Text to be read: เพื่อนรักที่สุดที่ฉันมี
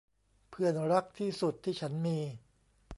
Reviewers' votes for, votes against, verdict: 2, 0, accepted